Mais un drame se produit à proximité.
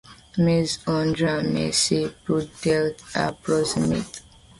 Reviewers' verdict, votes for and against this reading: rejected, 1, 2